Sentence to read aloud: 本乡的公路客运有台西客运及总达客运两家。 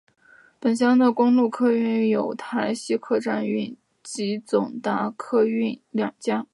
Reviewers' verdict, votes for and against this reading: rejected, 1, 3